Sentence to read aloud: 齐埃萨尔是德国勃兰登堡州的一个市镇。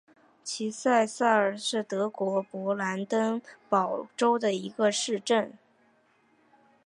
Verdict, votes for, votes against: accepted, 2, 1